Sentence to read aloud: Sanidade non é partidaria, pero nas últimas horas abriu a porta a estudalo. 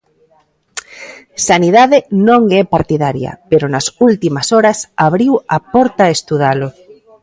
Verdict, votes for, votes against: accepted, 2, 0